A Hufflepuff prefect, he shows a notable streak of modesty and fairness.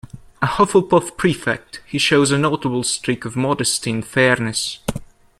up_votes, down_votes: 2, 0